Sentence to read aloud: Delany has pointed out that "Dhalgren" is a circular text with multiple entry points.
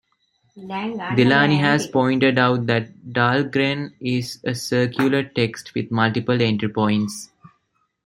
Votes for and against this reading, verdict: 1, 2, rejected